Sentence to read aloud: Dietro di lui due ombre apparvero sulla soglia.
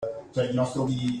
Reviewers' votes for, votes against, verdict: 0, 2, rejected